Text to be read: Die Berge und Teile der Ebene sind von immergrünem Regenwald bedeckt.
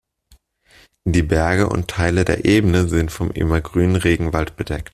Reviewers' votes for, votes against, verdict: 2, 0, accepted